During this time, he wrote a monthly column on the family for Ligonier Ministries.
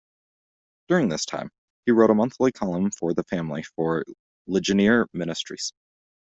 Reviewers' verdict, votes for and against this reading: rejected, 1, 2